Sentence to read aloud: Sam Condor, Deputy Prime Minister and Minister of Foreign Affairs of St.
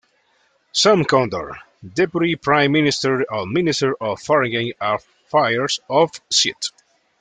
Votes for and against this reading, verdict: 1, 2, rejected